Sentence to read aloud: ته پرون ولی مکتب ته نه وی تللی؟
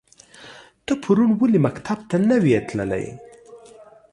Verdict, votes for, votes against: accepted, 2, 0